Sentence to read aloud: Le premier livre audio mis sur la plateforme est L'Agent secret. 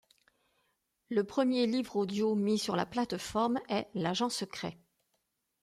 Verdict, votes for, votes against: accepted, 2, 0